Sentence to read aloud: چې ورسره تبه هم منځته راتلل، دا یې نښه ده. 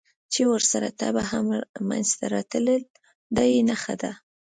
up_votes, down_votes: 2, 0